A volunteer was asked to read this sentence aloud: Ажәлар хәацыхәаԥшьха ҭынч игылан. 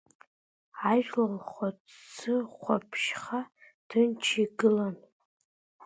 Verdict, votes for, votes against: rejected, 1, 2